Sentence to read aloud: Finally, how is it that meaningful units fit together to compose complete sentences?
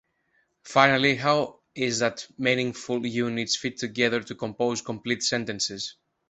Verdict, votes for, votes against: rejected, 0, 2